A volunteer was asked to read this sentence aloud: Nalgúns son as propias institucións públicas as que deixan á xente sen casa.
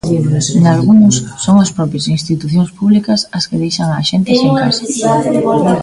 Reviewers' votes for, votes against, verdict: 0, 2, rejected